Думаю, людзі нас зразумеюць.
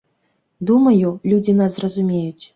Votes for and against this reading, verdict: 2, 0, accepted